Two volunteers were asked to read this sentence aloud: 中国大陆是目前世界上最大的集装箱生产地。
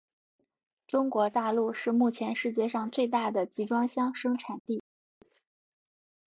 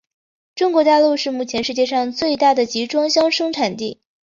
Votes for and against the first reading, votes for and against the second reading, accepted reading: 2, 0, 1, 3, first